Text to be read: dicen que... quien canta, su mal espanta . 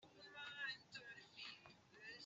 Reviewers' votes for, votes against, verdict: 0, 2, rejected